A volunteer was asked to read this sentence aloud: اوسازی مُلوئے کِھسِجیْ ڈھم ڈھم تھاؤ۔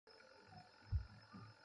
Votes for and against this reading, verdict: 0, 2, rejected